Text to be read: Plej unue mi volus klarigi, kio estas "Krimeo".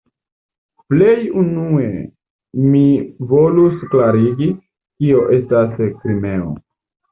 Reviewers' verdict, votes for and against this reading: accepted, 2, 0